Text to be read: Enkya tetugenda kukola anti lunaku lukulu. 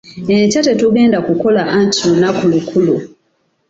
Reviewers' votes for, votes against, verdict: 2, 0, accepted